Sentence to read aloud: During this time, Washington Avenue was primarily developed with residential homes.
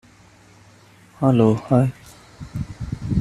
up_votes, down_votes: 0, 2